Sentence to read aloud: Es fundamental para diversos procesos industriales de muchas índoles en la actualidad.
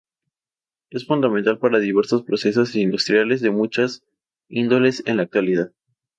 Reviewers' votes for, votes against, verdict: 2, 0, accepted